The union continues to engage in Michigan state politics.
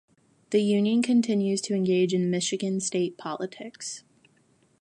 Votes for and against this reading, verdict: 2, 0, accepted